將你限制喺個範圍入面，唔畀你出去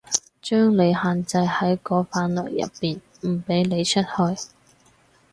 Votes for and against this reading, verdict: 2, 2, rejected